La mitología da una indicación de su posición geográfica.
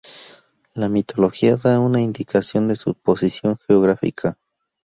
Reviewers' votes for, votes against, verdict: 2, 0, accepted